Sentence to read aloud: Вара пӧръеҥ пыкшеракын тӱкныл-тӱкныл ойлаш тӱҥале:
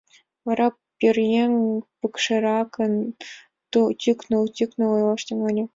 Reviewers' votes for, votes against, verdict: 1, 2, rejected